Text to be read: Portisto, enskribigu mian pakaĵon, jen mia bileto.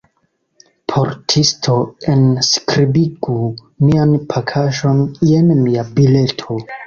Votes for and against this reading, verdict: 2, 1, accepted